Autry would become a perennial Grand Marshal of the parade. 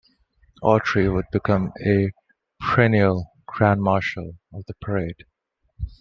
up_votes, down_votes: 2, 0